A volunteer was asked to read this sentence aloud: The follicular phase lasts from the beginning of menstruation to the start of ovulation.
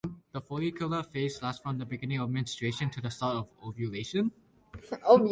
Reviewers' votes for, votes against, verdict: 2, 0, accepted